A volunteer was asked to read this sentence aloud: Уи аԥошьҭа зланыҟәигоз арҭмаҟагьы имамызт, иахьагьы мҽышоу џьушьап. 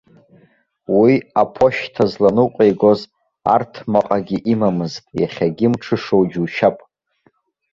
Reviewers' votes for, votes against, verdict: 2, 0, accepted